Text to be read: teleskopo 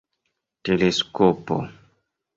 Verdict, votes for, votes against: accepted, 2, 0